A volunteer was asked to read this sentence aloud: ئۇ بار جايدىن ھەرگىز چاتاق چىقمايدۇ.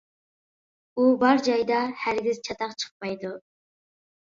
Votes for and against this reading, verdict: 0, 2, rejected